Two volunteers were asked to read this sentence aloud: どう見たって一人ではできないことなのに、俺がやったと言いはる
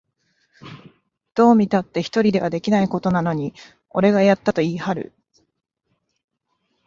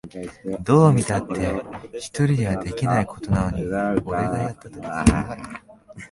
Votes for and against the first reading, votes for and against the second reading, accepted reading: 2, 0, 0, 2, first